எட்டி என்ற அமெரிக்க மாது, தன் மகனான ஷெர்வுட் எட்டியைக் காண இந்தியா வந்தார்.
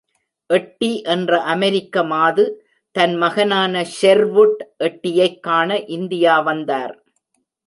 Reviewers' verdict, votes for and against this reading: accepted, 2, 0